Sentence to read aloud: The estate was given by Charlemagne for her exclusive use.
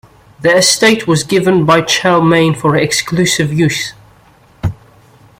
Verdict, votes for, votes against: rejected, 1, 2